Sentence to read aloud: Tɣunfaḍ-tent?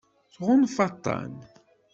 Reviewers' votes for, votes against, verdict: 1, 2, rejected